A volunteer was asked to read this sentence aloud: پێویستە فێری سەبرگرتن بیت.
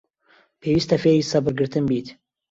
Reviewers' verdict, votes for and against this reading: accepted, 2, 0